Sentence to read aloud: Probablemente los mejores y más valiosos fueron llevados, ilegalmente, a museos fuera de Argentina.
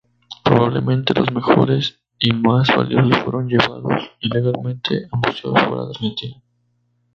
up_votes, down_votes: 0, 2